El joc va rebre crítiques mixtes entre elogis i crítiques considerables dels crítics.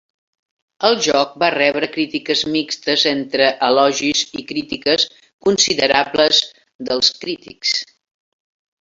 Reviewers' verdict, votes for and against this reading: accepted, 3, 1